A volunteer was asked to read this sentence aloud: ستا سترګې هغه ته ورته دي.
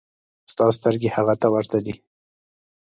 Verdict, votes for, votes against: accepted, 2, 0